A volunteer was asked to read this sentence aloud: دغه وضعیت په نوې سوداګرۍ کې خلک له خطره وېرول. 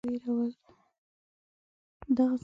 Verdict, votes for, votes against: rejected, 1, 2